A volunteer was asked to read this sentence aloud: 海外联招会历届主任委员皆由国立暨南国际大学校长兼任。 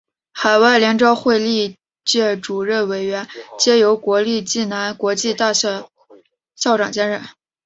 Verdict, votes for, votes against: accepted, 2, 0